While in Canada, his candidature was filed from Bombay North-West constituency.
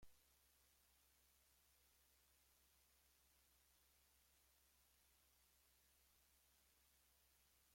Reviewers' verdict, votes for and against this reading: rejected, 1, 2